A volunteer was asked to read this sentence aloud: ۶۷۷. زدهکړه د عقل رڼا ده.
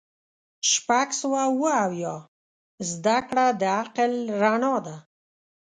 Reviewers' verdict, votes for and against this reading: rejected, 0, 2